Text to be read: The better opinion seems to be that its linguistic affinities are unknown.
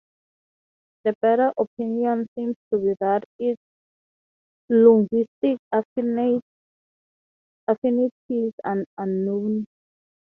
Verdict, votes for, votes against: rejected, 0, 21